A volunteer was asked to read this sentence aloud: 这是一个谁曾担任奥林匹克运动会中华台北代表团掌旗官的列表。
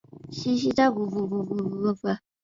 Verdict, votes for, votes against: rejected, 1, 5